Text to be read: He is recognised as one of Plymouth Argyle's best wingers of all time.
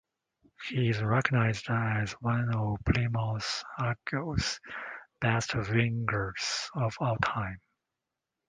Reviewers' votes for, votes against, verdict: 2, 0, accepted